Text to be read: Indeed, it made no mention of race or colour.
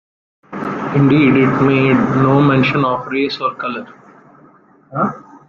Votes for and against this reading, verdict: 0, 2, rejected